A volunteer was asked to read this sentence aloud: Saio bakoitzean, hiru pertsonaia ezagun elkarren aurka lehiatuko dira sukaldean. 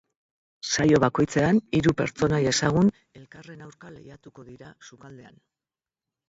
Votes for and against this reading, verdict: 2, 2, rejected